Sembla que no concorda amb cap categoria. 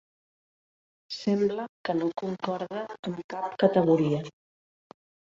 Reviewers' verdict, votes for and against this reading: rejected, 1, 2